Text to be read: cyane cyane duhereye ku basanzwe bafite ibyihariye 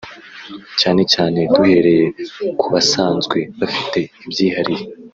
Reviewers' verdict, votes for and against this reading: accepted, 6, 0